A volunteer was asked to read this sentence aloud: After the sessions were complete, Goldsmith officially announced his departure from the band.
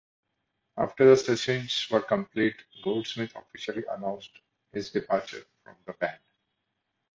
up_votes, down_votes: 0, 2